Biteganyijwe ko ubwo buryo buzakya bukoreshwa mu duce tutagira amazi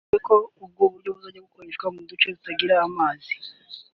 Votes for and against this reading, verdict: 1, 2, rejected